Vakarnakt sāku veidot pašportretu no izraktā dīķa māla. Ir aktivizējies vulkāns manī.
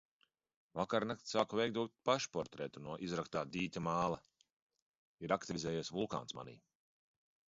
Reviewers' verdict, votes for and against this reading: accepted, 2, 0